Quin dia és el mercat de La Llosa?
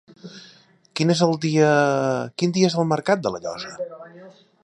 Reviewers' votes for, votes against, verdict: 0, 2, rejected